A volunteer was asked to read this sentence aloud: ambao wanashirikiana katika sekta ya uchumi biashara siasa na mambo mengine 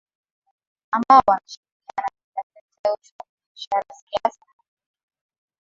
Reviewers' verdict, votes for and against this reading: rejected, 0, 2